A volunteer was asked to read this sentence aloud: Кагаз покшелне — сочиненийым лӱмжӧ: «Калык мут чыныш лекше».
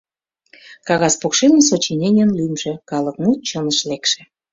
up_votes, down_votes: 0, 2